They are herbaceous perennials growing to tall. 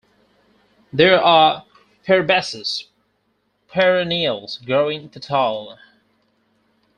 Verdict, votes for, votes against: accepted, 4, 2